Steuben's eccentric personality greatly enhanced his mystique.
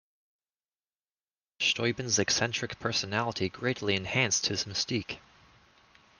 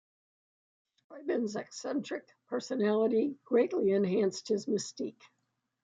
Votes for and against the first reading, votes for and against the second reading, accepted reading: 2, 0, 0, 2, first